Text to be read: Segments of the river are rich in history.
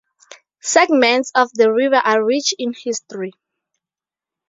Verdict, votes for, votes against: accepted, 2, 0